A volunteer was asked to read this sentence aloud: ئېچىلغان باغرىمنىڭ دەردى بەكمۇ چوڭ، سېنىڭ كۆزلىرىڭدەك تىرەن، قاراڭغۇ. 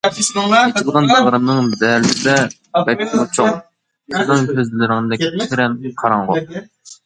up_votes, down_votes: 0, 2